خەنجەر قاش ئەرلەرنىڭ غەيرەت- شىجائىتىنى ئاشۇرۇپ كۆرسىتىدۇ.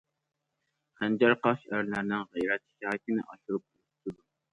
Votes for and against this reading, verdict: 0, 2, rejected